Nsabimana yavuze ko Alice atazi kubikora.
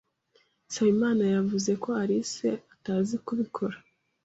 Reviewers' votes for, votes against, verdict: 2, 0, accepted